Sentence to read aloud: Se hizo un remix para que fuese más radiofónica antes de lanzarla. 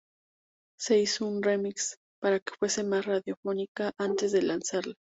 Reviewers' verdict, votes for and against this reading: accepted, 2, 0